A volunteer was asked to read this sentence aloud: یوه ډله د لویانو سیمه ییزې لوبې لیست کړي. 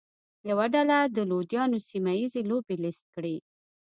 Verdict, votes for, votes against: accepted, 2, 0